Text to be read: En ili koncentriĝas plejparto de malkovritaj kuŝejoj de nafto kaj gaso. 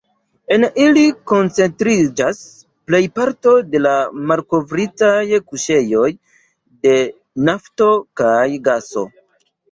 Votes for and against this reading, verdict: 2, 0, accepted